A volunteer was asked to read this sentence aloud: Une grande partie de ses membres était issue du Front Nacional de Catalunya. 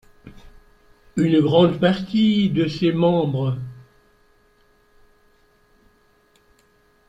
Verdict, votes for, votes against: rejected, 0, 2